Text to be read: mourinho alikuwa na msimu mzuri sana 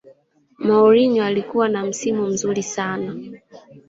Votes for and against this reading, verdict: 0, 2, rejected